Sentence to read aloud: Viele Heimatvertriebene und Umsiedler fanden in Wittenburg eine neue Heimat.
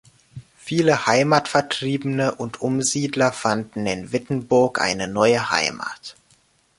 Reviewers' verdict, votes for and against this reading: accepted, 2, 0